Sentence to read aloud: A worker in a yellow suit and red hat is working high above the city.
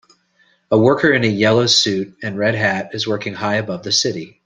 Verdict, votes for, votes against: accepted, 2, 0